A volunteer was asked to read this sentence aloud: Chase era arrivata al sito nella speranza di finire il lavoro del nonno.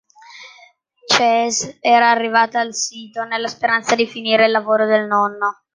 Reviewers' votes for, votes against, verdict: 2, 0, accepted